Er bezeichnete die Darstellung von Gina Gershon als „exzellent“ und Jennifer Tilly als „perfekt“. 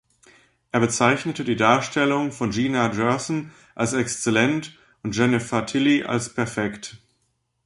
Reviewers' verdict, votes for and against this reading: rejected, 0, 2